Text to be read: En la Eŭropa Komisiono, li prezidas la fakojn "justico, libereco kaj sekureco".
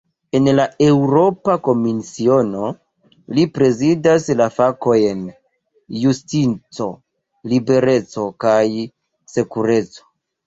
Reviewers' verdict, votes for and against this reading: rejected, 1, 3